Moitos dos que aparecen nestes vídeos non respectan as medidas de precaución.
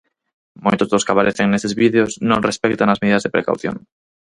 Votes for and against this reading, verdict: 2, 4, rejected